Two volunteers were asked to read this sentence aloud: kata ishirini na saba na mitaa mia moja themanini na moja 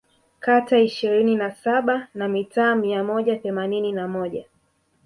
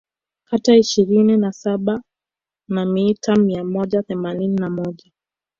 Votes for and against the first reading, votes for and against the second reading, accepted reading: 2, 0, 1, 2, first